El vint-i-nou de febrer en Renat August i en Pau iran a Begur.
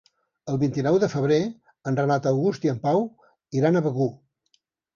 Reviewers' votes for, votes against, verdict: 3, 0, accepted